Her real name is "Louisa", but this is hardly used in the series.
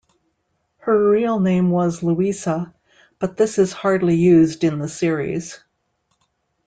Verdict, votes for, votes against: rejected, 0, 2